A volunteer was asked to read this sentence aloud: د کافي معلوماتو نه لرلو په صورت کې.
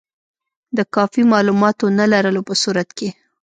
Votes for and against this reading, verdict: 3, 0, accepted